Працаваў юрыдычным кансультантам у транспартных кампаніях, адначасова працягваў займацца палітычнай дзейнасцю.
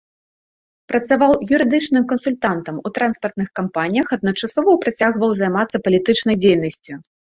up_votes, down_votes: 2, 0